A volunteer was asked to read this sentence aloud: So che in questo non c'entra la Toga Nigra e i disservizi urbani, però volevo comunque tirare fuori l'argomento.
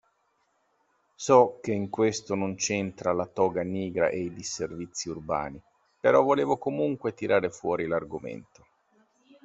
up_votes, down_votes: 2, 0